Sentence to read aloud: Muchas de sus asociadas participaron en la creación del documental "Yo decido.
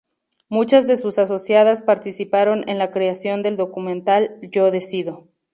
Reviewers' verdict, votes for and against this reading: rejected, 0, 2